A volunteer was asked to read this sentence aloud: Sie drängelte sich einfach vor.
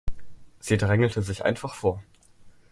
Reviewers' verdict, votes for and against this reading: accepted, 2, 0